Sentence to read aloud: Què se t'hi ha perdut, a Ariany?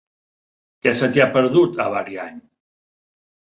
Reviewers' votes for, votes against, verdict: 2, 1, accepted